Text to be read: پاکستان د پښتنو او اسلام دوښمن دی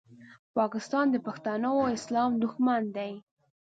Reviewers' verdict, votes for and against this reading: accepted, 2, 0